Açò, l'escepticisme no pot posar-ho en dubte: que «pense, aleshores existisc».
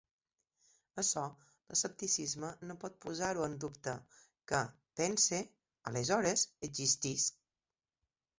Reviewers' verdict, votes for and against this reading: rejected, 1, 2